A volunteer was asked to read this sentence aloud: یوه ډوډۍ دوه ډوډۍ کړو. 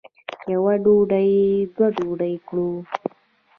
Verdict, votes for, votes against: rejected, 0, 3